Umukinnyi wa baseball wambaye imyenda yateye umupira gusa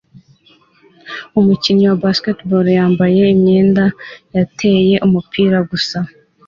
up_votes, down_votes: 2, 0